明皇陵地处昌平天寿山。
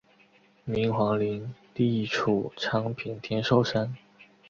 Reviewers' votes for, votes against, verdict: 2, 0, accepted